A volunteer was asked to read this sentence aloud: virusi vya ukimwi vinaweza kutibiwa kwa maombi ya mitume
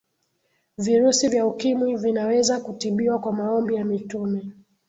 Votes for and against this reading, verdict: 3, 0, accepted